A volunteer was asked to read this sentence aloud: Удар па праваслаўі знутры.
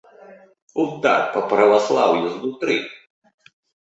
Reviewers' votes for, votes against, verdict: 1, 2, rejected